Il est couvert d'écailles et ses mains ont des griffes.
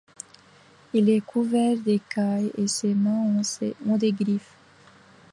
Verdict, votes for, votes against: rejected, 0, 2